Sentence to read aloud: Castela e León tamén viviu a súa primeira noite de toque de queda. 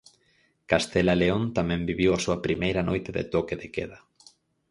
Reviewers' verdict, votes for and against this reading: accepted, 4, 0